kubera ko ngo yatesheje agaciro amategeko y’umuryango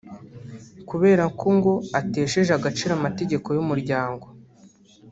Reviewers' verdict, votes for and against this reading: rejected, 1, 2